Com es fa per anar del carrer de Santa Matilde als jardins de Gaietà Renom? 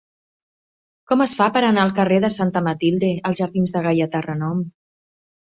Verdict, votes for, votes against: rejected, 1, 2